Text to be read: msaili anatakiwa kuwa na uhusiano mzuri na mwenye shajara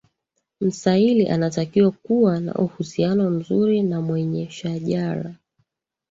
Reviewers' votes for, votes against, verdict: 2, 1, accepted